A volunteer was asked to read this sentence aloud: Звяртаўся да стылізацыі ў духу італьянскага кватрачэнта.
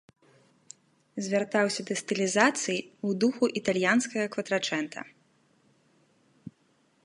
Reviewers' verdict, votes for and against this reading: rejected, 0, 2